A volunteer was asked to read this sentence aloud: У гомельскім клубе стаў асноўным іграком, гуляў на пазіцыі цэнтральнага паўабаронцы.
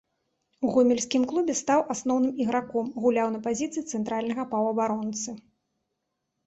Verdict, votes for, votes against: accepted, 2, 0